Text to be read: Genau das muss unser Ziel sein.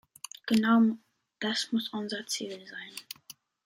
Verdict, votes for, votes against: accepted, 2, 0